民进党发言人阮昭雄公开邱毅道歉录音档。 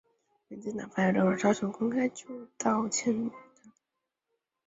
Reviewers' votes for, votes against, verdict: 0, 2, rejected